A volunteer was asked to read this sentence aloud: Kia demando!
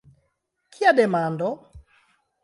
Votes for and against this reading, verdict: 2, 0, accepted